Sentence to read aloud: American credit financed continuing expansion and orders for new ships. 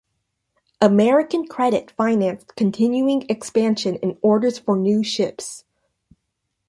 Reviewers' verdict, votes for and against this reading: accepted, 2, 0